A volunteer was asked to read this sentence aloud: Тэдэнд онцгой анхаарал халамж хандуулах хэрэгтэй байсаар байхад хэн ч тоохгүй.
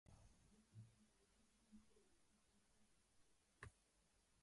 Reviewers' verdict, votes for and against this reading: rejected, 0, 2